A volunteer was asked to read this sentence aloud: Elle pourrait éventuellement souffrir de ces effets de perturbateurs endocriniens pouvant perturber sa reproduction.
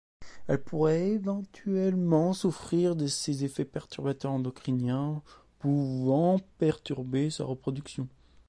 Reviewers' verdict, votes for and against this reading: rejected, 1, 2